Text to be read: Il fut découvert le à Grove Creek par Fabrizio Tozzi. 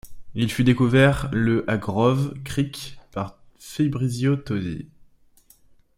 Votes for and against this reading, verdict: 0, 2, rejected